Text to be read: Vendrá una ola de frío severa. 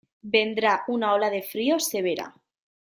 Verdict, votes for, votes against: accepted, 2, 0